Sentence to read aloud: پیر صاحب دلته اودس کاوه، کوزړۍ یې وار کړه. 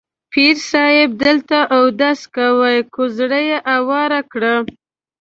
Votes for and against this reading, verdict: 1, 2, rejected